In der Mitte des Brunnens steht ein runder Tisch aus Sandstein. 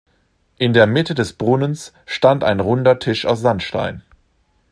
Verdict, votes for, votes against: rejected, 0, 2